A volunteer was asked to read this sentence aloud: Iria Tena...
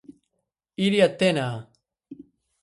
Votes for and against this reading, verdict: 6, 0, accepted